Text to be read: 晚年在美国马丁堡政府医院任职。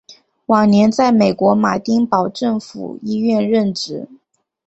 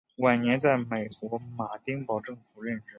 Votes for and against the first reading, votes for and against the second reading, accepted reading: 3, 0, 0, 2, first